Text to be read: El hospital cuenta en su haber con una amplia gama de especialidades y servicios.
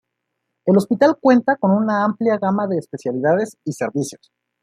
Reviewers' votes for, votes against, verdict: 1, 2, rejected